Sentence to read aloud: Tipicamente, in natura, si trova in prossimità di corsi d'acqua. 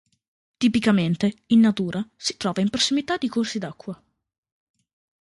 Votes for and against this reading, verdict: 2, 0, accepted